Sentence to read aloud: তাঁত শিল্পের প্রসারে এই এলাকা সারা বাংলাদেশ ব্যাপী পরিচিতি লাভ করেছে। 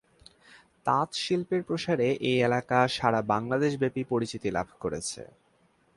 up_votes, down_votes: 2, 0